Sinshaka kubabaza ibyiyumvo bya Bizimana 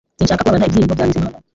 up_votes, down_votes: 0, 3